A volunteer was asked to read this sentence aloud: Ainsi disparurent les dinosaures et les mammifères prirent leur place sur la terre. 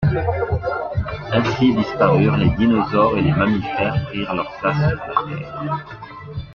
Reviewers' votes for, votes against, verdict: 0, 2, rejected